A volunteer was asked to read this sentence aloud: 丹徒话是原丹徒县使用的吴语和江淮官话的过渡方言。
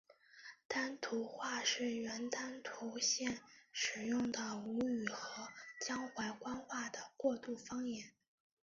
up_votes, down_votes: 0, 3